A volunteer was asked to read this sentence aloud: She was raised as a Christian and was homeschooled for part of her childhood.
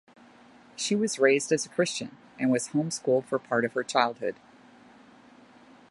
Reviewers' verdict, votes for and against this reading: accepted, 2, 0